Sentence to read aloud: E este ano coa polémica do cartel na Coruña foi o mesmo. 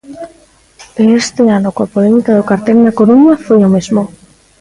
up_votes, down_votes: 3, 0